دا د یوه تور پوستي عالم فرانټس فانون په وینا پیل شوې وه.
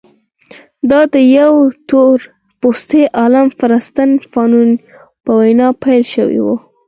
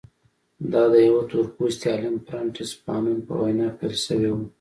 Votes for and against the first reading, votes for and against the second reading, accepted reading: 4, 2, 1, 2, first